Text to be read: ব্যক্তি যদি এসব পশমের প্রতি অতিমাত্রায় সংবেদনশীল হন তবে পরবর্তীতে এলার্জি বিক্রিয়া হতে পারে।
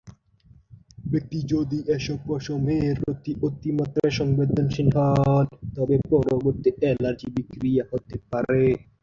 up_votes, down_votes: 0, 2